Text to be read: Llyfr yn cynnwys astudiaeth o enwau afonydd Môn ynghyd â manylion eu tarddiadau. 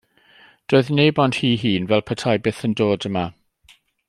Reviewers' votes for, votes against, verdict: 0, 2, rejected